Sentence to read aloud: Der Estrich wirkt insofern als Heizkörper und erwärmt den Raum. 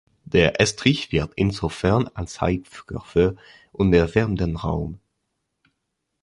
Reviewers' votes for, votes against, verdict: 0, 2, rejected